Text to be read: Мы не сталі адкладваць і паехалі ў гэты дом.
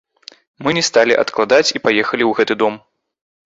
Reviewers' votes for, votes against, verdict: 1, 2, rejected